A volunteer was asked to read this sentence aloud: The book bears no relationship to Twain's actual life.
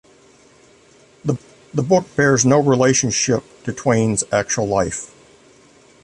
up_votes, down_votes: 2, 3